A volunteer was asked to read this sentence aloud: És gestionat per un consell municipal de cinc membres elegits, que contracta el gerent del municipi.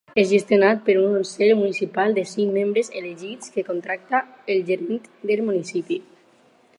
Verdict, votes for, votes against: rejected, 2, 4